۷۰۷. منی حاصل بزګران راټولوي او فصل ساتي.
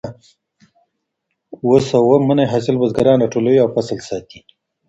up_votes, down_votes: 0, 2